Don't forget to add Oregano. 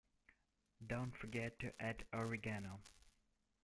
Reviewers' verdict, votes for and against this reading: rejected, 0, 2